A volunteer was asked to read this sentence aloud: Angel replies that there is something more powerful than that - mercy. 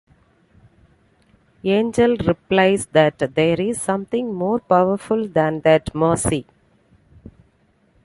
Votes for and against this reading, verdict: 2, 0, accepted